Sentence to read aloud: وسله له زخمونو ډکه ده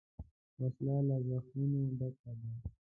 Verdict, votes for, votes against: rejected, 0, 2